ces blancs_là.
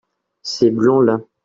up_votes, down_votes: 2, 0